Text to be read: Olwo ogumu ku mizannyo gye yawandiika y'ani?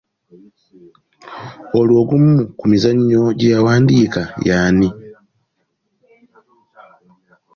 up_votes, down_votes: 2, 0